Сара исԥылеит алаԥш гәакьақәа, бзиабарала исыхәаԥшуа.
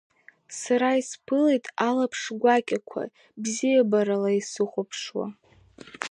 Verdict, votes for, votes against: accepted, 2, 1